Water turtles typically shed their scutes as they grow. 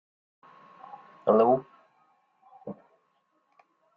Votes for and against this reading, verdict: 0, 2, rejected